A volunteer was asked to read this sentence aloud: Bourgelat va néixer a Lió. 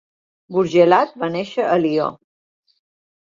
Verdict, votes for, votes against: accepted, 2, 0